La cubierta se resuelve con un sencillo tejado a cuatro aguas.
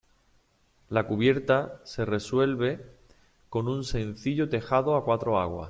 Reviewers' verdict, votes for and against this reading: accepted, 2, 0